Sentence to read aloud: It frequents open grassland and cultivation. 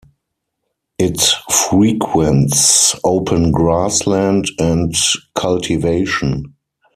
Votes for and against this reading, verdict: 0, 4, rejected